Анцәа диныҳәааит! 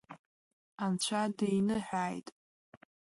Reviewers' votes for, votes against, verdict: 2, 0, accepted